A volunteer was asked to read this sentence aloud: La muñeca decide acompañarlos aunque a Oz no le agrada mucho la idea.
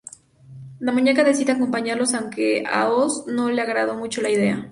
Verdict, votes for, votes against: rejected, 0, 2